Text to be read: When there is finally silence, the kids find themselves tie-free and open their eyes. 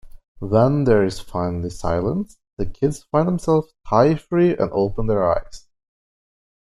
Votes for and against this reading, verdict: 2, 0, accepted